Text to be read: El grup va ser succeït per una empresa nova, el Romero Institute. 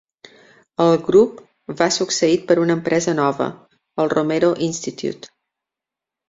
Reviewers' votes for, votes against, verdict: 1, 2, rejected